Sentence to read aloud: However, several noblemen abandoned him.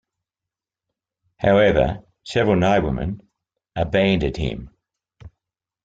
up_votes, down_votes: 2, 0